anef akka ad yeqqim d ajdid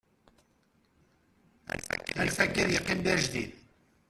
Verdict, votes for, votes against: rejected, 0, 3